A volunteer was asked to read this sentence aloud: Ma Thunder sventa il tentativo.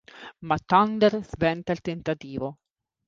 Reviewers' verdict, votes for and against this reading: accepted, 3, 0